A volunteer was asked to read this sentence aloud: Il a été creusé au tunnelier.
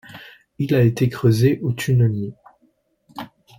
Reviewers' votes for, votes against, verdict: 2, 0, accepted